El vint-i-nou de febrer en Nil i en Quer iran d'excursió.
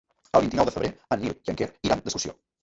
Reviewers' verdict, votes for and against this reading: rejected, 1, 2